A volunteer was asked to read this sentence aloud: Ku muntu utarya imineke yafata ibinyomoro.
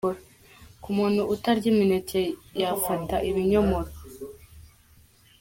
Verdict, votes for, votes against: accepted, 2, 1